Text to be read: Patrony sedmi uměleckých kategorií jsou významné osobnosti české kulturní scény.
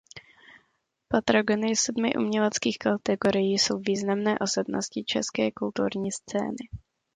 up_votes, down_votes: 0, 2